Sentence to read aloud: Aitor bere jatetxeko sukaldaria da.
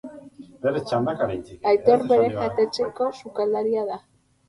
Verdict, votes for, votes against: rejected, 0, 4